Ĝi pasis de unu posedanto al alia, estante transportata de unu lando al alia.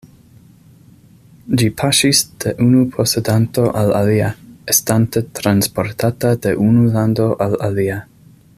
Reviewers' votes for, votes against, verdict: 0, 2, rejected